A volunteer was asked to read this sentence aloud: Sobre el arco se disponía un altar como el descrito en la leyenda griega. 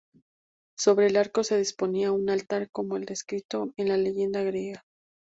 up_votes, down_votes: 2, 0